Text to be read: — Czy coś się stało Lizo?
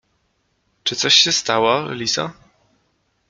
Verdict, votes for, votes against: accepted, 2, 0